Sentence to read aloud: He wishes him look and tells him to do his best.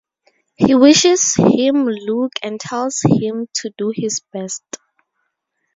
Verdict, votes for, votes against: rejected, 2, 4